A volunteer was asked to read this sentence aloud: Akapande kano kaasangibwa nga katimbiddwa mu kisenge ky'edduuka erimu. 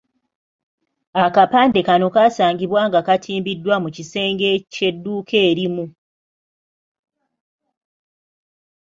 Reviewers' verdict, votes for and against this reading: accepted, 3, 0